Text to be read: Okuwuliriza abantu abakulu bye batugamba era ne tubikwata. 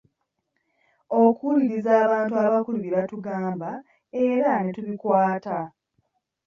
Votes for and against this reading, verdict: 2, 0, accepted